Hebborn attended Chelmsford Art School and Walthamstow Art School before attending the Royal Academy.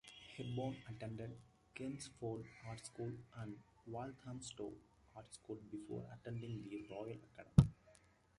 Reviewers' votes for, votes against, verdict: 0, 2, rejected